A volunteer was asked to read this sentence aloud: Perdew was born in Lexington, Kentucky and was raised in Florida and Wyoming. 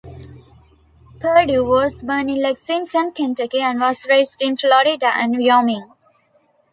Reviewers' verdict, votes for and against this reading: accepted, 2, 1